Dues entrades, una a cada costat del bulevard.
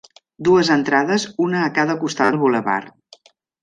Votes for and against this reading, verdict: 0, 2, rejected